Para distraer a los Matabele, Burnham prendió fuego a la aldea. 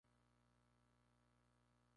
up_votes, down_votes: 0, 2